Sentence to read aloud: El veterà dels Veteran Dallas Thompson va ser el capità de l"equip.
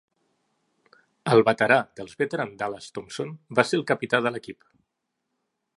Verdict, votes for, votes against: accepted, 2, 0